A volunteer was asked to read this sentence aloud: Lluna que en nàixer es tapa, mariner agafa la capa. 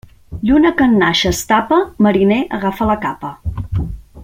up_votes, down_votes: 2, 0